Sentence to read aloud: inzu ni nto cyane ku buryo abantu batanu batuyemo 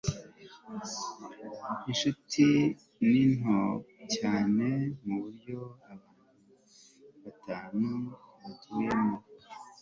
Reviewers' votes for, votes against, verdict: 0, 2, rejected